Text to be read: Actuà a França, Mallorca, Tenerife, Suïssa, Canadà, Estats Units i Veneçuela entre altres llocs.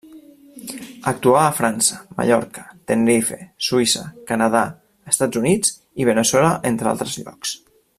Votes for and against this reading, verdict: 2, 0, accepted